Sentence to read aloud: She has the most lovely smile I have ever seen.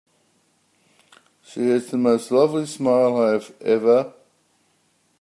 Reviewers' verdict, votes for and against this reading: rejected, 0, 2